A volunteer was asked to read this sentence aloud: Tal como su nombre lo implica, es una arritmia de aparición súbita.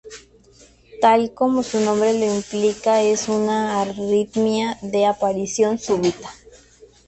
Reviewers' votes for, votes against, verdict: 2, 2, rejected